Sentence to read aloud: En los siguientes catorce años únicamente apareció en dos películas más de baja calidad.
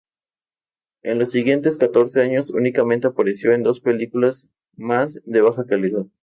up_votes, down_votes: 2, 2